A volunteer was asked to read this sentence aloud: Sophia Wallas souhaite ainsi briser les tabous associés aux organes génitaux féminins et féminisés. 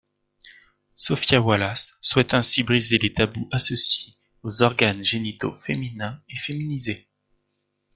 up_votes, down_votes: 3, 1